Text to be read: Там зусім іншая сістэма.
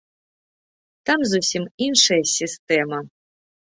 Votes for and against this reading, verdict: 3, 0, accepted